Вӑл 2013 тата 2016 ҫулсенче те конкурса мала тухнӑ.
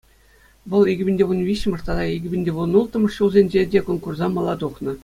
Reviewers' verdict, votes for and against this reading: rejected, 0, 2